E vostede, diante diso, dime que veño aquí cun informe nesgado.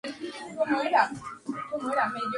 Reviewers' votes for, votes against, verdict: 0, 2, rejected